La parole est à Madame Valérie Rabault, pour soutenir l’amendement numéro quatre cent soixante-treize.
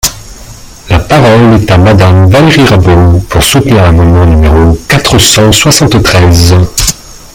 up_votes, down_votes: 1, 2